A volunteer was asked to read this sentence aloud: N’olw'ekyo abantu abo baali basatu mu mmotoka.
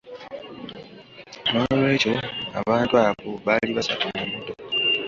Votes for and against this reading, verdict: 1, 2, rejected